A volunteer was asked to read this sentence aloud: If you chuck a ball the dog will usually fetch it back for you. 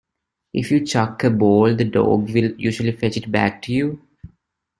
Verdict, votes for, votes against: rejected, 0, 2